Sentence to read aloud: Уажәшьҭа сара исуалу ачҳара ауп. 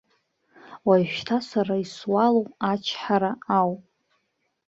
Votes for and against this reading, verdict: 2, 0, accepted